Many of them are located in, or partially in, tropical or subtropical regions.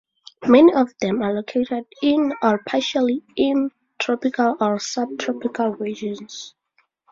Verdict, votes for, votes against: accepted, 4, 2